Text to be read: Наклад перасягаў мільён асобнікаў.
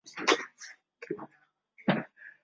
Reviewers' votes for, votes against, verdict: 0, 2, rejected